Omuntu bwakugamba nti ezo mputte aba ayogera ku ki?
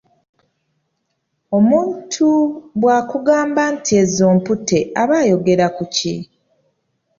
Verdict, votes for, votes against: accepted, 2, 0